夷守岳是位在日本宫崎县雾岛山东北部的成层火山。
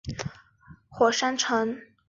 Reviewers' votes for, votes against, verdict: 0, 2, rejected